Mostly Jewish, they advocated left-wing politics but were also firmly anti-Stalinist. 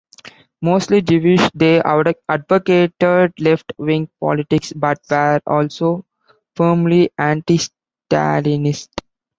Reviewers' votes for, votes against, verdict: 0, 2, rejected